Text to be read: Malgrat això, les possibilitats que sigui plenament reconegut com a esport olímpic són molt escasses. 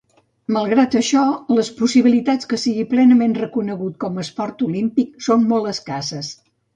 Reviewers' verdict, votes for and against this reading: accepted, 2, 0